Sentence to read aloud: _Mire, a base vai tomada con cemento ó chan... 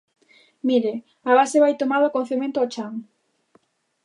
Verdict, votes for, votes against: accepted, 2, 0